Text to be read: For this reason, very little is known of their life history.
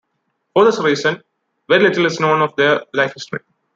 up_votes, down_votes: 0, 2